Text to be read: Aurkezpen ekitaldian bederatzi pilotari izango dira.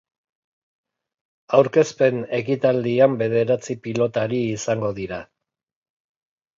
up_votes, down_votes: 2, 0